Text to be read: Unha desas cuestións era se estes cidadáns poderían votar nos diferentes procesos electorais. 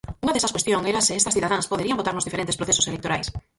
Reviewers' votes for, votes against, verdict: 0, 4, rejected